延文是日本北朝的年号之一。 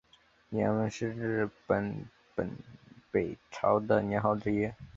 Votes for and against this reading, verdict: 1, 2, rejected